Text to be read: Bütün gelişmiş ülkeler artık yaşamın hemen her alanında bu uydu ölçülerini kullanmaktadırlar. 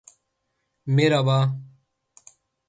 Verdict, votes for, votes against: rejected, 0, 4